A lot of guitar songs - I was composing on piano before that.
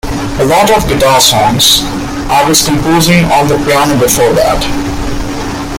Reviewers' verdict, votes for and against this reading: rejected, 1, 3